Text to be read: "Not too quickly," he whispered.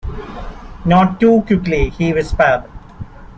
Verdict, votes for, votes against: accepted, 2, 0